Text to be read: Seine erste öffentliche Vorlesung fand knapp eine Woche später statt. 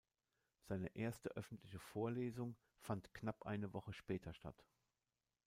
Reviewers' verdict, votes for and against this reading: accepted, 2, 0